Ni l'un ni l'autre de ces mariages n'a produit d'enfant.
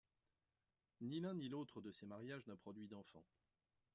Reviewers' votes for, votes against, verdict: 2, 0, accepted